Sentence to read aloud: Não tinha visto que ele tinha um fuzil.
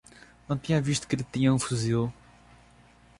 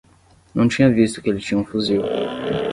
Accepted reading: first